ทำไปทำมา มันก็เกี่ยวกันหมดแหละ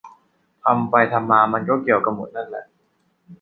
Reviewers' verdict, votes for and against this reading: rejected, 0, 2